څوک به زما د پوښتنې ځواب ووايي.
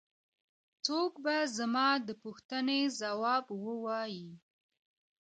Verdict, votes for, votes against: accepted, 2, 0